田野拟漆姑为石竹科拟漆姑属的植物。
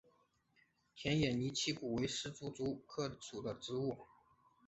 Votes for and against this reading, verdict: 0, 3, rejected